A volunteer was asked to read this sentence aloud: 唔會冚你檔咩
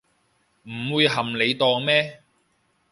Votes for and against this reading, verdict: 0, 3, rejected